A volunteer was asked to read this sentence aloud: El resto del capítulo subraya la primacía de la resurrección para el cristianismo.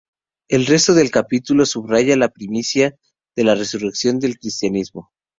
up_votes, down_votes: 2, 2